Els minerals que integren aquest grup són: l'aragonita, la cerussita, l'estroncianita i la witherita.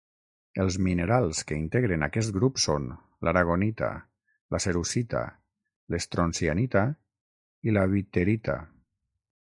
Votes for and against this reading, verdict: 6, 0, accepted